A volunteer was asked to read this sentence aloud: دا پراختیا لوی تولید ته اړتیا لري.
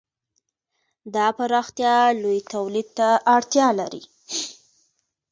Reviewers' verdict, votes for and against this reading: accepted, 2, 0